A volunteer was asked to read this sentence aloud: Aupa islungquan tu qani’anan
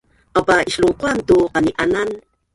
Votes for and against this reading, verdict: 1, 2, rejected